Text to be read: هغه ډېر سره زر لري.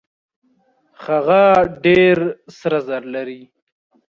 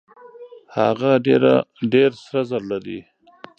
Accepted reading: first